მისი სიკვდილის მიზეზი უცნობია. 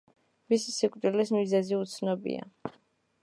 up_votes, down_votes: 1, 2